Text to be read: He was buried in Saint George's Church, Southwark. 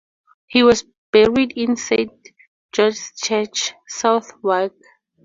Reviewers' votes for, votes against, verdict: 4, 0, accepted